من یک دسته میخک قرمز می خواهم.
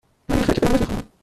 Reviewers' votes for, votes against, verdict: 1, 2, rejected